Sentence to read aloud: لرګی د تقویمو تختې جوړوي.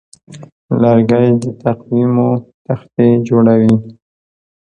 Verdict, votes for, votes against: accepted, 2, 0